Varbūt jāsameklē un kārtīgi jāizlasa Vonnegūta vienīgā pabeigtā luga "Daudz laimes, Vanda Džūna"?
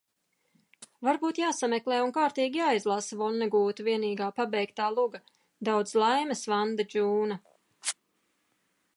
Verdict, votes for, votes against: accepted, 2, 0